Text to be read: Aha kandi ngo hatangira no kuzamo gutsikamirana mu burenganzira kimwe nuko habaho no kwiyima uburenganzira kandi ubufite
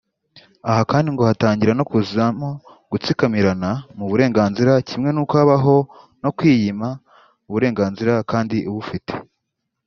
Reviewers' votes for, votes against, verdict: 2, 0, accepted